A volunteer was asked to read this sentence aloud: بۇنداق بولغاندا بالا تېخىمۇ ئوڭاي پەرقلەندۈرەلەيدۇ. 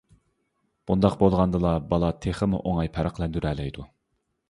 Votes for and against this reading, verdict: 1, 2, rejected